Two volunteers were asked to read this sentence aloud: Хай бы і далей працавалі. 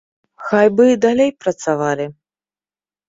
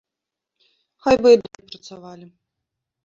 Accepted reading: first